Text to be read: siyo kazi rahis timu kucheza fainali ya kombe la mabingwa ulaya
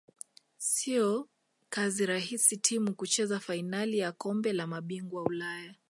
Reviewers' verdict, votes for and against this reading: accepted, 2, 0